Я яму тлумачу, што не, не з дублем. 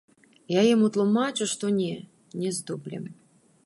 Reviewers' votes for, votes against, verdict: 2, 0, accepted